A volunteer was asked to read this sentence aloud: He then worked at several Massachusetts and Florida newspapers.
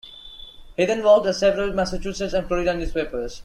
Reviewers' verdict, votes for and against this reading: accepted, 2, 0